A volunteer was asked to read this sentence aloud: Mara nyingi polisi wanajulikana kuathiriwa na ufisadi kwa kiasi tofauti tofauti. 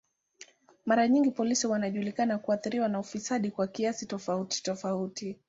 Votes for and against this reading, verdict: 2, 0, accepted